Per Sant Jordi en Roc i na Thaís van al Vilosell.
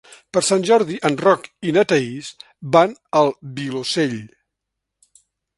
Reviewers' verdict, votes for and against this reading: accepted, 3, 0